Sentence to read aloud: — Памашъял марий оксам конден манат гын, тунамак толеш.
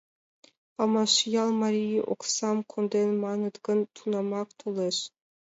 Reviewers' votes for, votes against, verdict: 2, 1, accepted